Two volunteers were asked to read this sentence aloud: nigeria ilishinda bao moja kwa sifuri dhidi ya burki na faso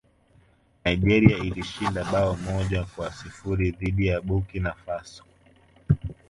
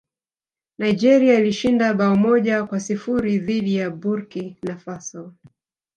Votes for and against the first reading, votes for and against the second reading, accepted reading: 1, 2, 2, 0, second